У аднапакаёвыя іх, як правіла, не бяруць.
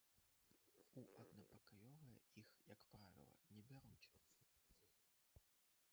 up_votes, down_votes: 0, 2